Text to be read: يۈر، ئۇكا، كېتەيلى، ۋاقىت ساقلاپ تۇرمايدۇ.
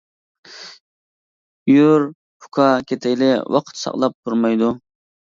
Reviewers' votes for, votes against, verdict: 2, 0, accepted